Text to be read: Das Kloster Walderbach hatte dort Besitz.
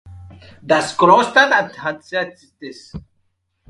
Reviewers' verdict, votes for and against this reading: rejected, 0, 2